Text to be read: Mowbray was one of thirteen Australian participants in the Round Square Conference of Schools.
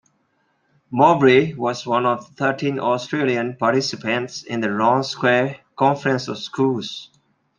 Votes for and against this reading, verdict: 2, 0, accepted